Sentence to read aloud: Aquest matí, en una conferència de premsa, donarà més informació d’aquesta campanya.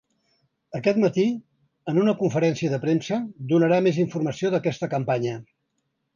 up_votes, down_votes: 3, 0